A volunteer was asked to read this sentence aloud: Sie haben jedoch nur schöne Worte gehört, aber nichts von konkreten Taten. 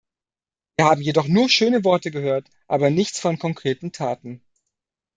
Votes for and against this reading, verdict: 0, 2, rejected